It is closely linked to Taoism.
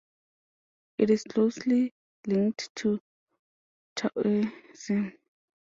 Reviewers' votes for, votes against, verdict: 0, 2, rejected